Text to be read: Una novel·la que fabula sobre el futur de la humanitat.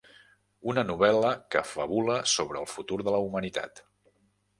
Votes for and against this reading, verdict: 0, 2, rejected